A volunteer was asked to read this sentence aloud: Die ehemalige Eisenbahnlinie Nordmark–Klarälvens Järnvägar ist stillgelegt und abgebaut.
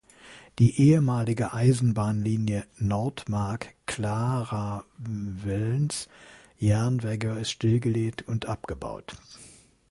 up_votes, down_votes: 0, 2